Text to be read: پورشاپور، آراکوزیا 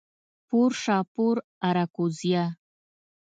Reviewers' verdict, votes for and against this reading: rejected, 1, 2